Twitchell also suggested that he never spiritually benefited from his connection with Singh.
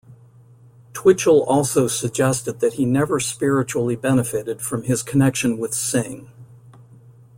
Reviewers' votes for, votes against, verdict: 2, 0, accepted